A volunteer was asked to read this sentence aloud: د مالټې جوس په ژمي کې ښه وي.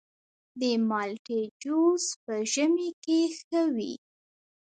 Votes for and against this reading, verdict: 2, 4, rejected